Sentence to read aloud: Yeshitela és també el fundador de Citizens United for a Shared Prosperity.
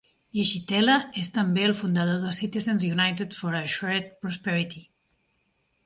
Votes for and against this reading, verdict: 1, 2, rejected